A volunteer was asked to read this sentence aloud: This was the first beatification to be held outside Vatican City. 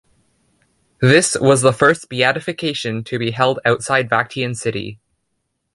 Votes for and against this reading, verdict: 0, 2, rejected